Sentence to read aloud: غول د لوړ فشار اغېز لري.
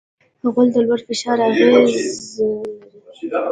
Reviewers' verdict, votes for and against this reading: rejected, 0, 2